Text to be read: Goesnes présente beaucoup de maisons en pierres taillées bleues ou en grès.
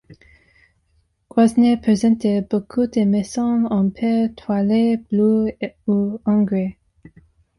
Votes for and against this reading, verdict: 0, 2, rejected